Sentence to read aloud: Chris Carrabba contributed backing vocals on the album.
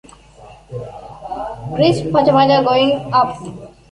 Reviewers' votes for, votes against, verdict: 0, 3, rejected